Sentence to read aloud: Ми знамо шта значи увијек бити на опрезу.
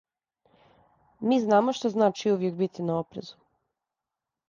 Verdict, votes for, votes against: accepted, 2, 0